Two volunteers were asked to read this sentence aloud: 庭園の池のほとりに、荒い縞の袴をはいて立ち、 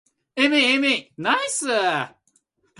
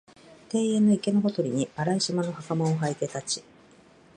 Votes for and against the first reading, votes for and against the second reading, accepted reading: 1, 2, 2, 0, second